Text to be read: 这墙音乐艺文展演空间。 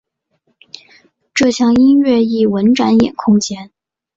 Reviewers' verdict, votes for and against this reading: accepted, 3, 0